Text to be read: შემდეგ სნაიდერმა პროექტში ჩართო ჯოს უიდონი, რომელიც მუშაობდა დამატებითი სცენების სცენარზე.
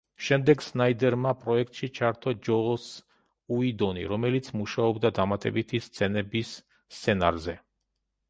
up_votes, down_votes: 0, 2